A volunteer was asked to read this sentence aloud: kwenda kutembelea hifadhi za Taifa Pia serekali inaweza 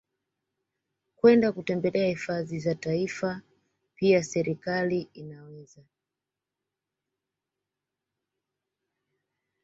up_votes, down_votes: 2, 1